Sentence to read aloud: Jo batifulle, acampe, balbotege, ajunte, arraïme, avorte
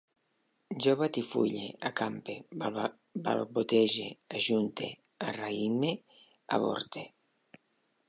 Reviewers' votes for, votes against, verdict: 1, 2, rejected